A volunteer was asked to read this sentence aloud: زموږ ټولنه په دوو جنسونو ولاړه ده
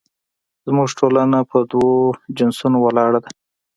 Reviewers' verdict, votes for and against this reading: accepted, 2, 0